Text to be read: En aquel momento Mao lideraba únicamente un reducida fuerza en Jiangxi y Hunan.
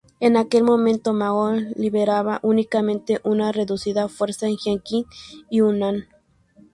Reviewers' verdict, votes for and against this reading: accepted, 2, 0